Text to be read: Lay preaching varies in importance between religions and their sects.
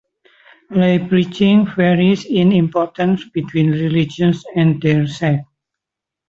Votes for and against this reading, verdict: 2, 1, accepted